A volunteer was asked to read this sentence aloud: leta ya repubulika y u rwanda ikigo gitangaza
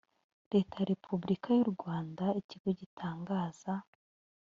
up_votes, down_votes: 1, 2